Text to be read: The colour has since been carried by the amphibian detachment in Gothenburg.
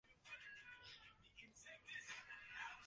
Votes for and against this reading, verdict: 0, 2, rejected